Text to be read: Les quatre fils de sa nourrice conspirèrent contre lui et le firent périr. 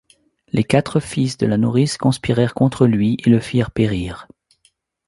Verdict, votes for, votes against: rejected, 0, 2